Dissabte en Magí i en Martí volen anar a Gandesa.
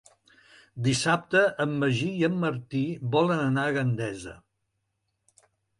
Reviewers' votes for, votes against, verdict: 3, 0, accepted